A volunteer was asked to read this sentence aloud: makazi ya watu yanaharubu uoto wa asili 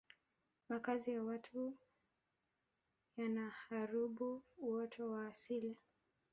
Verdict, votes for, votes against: accepted, 3, 0